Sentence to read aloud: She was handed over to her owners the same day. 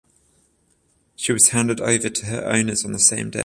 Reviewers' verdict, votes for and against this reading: rejected, 7, 14